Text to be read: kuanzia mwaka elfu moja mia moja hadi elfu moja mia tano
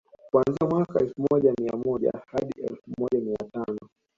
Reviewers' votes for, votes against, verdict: 0, 2, rejected